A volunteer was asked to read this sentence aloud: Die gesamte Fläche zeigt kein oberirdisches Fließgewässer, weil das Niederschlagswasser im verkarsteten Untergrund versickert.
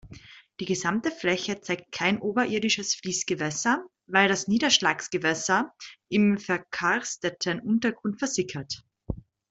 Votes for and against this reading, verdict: 1, 2, rejected